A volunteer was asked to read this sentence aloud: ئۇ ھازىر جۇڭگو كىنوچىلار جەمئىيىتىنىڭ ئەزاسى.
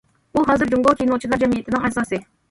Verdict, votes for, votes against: accepted, 2, 0